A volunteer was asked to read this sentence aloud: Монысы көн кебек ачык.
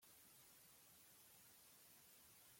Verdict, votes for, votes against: rejected, 0, 2